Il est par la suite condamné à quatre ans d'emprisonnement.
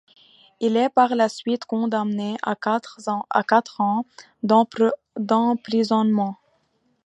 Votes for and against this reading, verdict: 0, 2, rejected